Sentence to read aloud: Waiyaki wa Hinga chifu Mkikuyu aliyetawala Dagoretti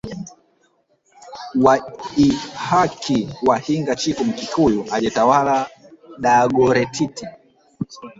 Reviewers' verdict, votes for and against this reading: rejected, 2, 3